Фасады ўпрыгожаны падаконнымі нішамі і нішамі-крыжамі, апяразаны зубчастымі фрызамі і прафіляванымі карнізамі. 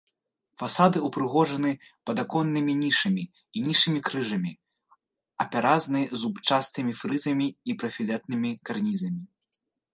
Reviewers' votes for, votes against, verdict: 0, 3, rejected